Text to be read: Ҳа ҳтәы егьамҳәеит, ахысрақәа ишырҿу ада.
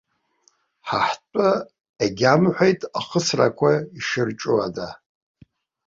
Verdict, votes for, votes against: accepted, 2, 0